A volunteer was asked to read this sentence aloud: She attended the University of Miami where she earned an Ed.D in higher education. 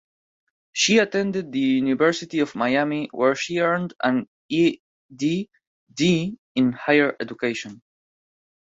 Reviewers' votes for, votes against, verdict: 1, 2, rejected